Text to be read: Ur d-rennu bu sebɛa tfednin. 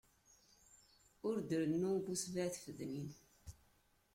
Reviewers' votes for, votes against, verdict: 2, 1, accepted